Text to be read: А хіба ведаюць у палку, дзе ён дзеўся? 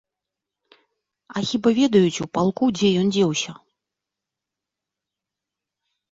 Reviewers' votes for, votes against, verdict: 3, 0, accepted